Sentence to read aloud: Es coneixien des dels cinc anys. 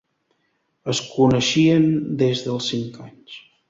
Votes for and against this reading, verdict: 2, 0, accepted